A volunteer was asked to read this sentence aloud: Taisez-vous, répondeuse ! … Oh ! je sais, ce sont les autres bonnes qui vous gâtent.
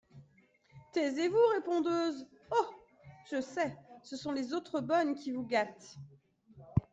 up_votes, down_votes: 2, 0